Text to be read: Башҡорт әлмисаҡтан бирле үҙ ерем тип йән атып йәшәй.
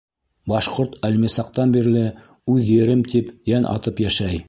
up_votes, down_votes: 2, 0